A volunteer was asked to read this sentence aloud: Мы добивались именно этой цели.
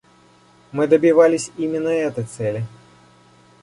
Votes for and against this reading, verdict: 2, 0, accepted